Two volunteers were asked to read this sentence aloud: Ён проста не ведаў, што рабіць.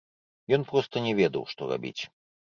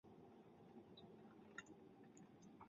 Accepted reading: first